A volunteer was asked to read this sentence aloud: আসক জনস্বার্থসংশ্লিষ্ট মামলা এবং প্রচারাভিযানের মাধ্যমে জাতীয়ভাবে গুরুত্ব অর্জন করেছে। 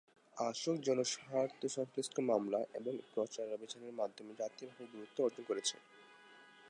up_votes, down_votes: 2, 2